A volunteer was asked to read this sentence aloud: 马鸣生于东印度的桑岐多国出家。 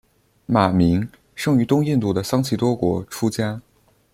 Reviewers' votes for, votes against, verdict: 2, 0, accepted